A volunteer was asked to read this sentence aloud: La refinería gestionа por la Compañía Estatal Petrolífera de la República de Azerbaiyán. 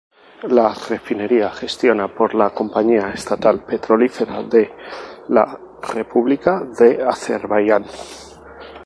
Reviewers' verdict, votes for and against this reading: rejected, 2, 2